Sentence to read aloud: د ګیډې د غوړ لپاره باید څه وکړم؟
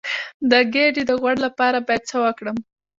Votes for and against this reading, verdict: 2, 0, accepted